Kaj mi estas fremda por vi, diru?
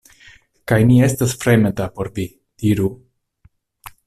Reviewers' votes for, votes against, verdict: 0, 2, rejected